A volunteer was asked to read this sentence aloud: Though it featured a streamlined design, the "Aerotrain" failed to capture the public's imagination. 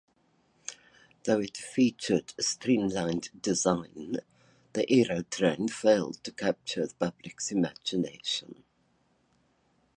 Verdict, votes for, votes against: accepted, 2, 0